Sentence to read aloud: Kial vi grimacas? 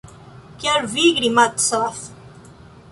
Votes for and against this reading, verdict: 1, 2, rejected